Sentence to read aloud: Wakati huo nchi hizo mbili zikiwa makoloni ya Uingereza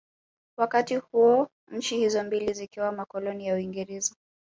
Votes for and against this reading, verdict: 2, 1, accepted